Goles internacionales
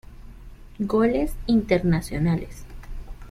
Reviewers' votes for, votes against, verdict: 2, 0, accepted